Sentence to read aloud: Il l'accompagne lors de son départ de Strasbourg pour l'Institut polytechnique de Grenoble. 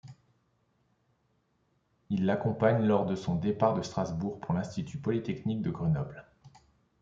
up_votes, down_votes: 2, 0